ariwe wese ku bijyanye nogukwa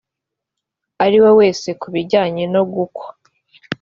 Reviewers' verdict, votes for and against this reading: accepted, 3, 0